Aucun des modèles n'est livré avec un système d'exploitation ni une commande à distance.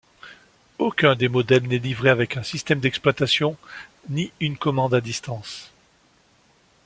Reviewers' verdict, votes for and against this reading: accepted, 2, 0